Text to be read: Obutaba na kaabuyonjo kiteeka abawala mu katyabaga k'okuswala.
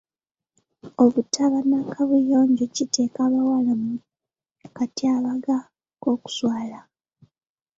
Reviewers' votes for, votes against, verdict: 2, 0, accepted